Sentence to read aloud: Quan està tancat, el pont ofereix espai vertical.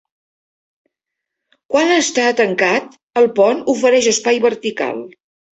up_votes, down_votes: 1, 2